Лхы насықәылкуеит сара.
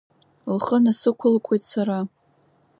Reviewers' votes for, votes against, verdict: 2, 0, accepted